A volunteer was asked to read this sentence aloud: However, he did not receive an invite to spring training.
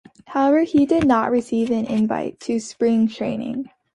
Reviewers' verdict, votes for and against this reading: accepted, 2, 0